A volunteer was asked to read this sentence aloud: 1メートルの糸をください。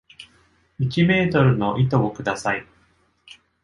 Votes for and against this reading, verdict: 0, 2, rejected